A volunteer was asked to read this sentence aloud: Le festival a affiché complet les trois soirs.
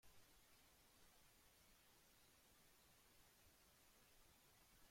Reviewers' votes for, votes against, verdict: 0, 3, rejected